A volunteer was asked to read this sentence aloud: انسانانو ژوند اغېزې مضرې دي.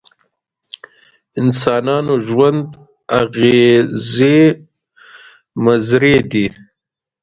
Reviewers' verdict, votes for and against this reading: accepted, 2, 1